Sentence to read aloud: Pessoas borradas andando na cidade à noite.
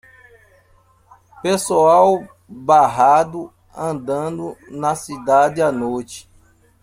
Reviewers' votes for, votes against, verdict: 0, 2, rejected